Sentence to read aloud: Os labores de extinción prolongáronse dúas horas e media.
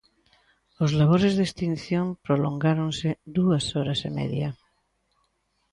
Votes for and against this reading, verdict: 2, 0, accepted